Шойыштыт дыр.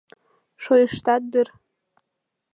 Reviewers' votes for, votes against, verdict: 1, 2, rejected